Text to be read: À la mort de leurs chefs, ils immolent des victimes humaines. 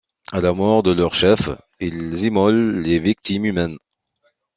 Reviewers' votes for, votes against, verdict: 0, 2, rejected